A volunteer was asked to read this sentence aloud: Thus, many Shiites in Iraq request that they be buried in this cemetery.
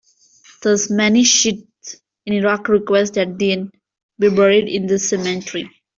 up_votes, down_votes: 2, 1